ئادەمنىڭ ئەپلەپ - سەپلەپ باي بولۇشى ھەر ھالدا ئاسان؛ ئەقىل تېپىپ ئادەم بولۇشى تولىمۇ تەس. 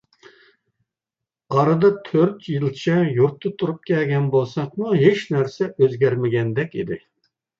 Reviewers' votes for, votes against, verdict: 0, 2, rejected